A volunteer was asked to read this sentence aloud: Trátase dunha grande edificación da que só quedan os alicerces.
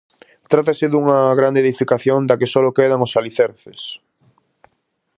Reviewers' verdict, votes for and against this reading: rejected, 0, 4